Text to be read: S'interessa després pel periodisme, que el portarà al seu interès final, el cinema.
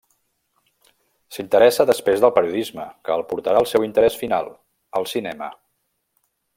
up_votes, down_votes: 1, 2